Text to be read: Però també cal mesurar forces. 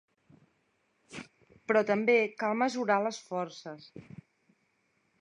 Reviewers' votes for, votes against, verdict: 1, 2, rejected